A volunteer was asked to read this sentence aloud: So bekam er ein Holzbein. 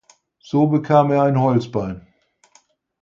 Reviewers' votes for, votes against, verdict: 4, 0, accepted